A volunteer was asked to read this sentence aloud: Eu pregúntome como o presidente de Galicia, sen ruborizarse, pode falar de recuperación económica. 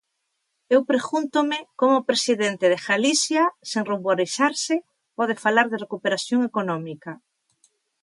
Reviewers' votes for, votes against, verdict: 2, 0, accepted